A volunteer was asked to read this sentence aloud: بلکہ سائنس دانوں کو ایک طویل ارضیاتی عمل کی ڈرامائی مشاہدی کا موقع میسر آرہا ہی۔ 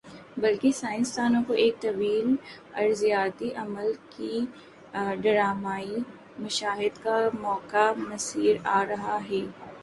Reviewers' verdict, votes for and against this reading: accepted, 3, 1